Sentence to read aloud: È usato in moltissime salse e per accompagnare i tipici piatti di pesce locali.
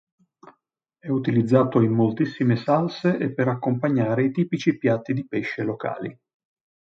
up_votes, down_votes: 0, 2